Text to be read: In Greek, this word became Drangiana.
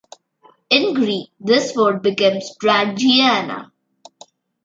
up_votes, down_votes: 1, 2